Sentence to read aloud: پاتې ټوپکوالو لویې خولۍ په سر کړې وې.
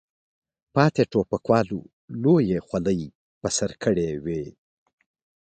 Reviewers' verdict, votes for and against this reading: accepted, 2, 1